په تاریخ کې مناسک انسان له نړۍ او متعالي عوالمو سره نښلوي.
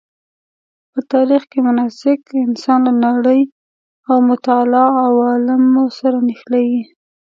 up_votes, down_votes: 2, 0